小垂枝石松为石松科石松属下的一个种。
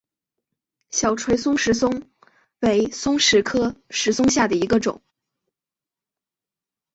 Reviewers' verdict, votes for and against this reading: rejected, 0, 2